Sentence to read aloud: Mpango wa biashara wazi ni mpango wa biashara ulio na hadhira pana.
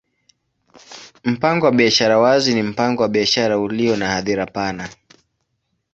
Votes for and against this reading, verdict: 2, 0, accepted